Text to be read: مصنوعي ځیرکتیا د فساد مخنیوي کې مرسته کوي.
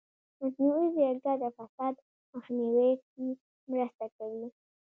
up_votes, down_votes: 2, 1